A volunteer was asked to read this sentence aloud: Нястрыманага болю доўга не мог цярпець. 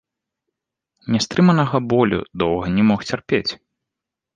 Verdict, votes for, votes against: accepted, 2, 0